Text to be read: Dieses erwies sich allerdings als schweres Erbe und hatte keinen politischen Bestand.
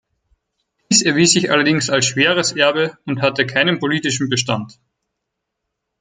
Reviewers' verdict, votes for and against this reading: accepted, 4, 2